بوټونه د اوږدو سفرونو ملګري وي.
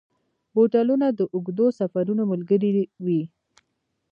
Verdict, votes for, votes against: accepted, 2, 0